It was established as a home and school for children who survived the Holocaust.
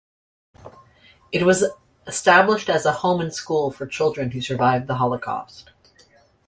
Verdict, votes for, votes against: rejected, 0, 2